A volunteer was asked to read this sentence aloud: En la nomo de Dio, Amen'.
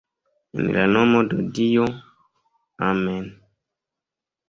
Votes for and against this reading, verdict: 2, 1, accepted